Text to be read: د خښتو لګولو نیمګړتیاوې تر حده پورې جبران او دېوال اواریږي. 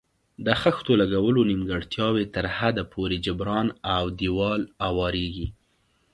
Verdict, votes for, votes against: accepted, 2, 0